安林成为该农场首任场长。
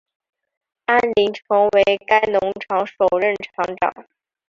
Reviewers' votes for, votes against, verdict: 3, 0, accepted